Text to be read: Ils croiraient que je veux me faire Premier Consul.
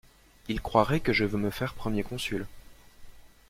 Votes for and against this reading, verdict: 2, 0, accepted